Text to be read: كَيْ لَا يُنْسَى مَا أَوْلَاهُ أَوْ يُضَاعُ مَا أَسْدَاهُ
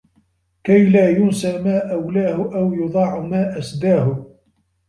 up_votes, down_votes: 0, 3